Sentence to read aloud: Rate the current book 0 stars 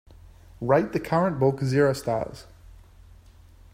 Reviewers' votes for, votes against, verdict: 0, 2, rejected